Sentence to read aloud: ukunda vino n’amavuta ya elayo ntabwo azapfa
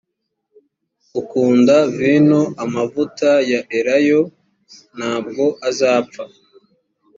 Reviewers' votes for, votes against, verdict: 1, 2, rejected